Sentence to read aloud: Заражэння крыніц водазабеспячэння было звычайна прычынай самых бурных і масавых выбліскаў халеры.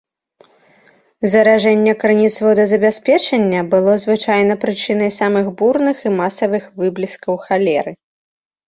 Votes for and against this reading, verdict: 1, 2, rejected